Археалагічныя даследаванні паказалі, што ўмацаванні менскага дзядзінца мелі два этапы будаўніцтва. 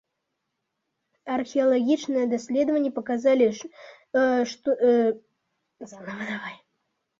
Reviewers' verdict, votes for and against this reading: rejected, 0, 2